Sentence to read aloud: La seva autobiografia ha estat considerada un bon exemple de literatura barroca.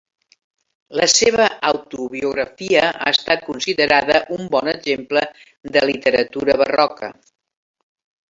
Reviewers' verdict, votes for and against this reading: accepted, 3, 0